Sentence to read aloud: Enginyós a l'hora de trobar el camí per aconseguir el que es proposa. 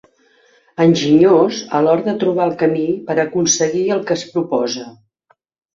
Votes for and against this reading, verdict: 3, 0, accepted